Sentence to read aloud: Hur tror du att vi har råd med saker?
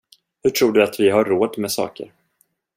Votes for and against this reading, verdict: 2, 0, accepted